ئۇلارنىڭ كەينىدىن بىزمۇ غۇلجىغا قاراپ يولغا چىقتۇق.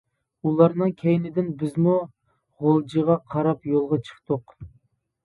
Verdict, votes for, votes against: accepted, 2, 0